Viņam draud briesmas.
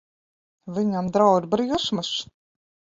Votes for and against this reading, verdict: 2, 3, rejected